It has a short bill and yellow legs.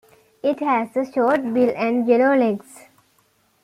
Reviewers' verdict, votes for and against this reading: accepted, 2, 0